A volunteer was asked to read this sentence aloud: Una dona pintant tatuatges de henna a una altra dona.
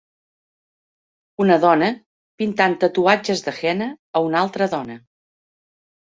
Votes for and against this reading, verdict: 0, 2, rejected